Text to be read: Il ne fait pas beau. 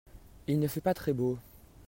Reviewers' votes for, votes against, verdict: 0, 2, rejected